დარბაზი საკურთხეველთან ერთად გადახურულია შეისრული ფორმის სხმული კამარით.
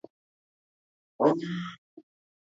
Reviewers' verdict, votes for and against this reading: rejected, 0, 2